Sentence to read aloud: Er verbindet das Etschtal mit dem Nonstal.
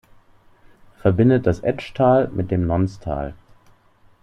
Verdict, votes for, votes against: rejected, 1, 2